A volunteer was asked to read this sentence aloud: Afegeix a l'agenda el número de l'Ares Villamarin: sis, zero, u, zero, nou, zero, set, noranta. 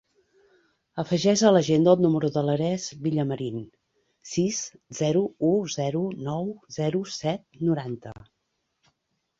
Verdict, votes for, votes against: rejected, 1, 2